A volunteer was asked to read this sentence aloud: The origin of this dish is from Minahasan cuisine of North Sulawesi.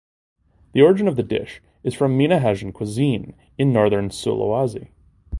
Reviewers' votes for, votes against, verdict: 0, 2, rejected